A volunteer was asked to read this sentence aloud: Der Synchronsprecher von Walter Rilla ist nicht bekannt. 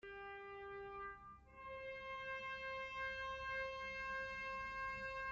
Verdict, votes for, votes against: rejected, 0, 2